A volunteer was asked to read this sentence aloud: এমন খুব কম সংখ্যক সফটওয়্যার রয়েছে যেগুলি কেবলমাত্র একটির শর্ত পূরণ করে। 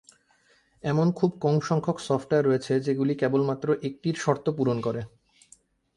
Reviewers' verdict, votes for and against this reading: accepted, 4, 0